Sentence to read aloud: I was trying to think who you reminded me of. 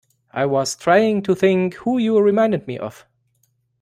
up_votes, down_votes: 2, 1